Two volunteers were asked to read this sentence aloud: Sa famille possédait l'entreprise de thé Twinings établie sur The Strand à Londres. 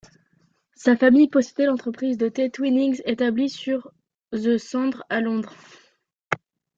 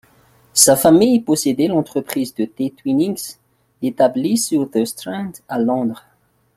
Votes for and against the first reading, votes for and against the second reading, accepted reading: 0, 2, 2, 0, second